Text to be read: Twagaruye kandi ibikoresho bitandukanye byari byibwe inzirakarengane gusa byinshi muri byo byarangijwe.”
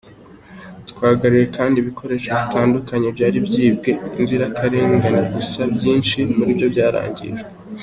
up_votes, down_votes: 2, 0